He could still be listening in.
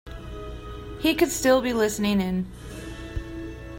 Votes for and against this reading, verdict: 2, 0, accepted